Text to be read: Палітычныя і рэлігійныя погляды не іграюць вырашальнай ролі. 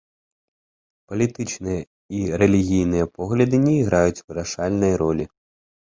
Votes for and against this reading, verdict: 2, 0, accepted